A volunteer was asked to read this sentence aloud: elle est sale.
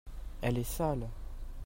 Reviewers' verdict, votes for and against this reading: rejected, 0, 2